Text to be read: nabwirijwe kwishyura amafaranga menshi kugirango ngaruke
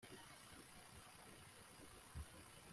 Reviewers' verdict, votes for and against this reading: rejected, 0, 3